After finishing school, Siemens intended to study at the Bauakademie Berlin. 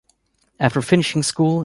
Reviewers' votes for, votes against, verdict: 1, 2, rejected